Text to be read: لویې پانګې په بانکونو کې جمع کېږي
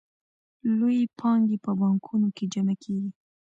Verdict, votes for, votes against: accepted, 2, 0